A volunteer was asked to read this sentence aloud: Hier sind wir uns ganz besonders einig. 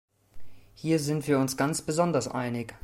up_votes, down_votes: 2, 0